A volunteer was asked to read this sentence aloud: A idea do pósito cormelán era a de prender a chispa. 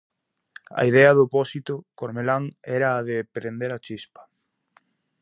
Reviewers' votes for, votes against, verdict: 2, 0, accepted